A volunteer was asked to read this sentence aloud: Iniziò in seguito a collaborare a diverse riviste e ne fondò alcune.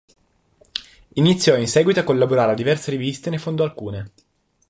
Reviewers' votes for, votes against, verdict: 2, 0, accepted